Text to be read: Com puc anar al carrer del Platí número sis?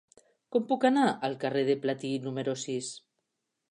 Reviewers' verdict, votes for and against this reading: rejected, 1, 2